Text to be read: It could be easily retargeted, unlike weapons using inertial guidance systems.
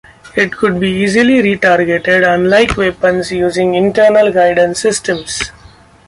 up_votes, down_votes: 1, 2